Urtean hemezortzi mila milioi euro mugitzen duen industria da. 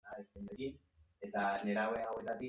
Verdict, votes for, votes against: rejected, 0, 2